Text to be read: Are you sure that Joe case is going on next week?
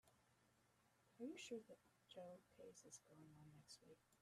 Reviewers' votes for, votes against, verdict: 0, 2, rejected